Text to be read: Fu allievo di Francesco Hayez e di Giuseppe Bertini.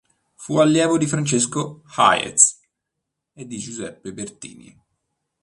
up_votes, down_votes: 2, 0